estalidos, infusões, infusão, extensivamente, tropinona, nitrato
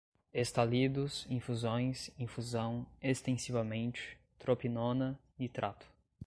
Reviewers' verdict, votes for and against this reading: accepted, 2, 0